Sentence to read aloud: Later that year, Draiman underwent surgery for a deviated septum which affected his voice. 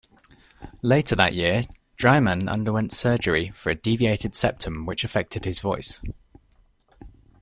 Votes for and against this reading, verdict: 2, 0, accepted